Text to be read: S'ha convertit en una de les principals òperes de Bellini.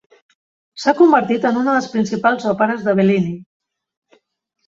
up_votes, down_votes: 2, 0